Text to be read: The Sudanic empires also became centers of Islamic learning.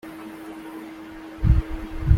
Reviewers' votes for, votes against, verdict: 0, 2, rejected